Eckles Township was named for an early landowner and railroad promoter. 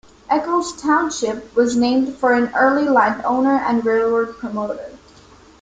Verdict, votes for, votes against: accepted, 2, 0